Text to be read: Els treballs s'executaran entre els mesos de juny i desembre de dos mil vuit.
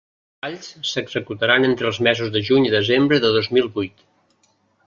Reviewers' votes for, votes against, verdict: 0, 2, rejected